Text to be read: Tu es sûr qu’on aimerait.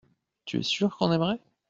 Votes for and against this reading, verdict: 2, 0, accepted